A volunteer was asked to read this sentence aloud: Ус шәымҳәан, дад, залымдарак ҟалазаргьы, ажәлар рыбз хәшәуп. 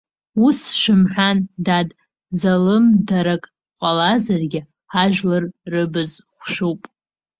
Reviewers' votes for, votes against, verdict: 0, 2, rejected